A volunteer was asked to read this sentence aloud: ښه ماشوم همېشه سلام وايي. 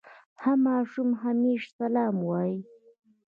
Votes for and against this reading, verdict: 2, 0, accepted